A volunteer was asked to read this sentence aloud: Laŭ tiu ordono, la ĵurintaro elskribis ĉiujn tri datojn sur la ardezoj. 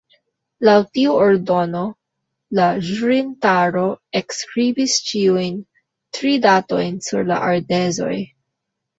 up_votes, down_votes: 1, 2